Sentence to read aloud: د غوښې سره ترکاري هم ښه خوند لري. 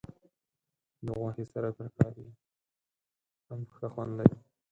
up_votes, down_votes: 2, 4